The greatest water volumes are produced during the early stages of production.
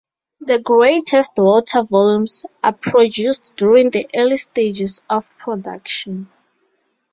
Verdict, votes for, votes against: accepted, 2, 0